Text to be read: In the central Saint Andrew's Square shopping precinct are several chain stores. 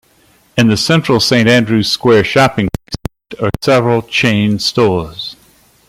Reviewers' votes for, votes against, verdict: 0, 2, rejected